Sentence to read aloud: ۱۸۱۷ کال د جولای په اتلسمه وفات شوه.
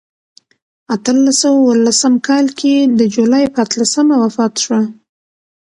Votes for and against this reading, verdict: 0, 2, rejected